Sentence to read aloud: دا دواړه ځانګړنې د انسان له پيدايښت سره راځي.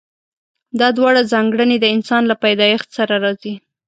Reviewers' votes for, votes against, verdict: 2, 0, accepted